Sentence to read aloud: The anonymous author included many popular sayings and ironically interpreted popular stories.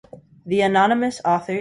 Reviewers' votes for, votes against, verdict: 0, 3, rejected